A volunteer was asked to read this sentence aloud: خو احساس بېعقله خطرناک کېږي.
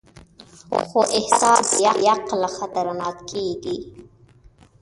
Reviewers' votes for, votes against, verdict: 0, 2, rejected